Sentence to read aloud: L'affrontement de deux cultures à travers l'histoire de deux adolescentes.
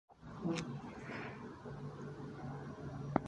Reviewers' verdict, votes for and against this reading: rejected, 0, 2